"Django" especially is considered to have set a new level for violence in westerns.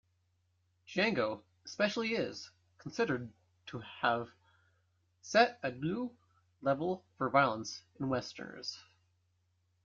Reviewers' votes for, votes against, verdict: 0, 2, rejected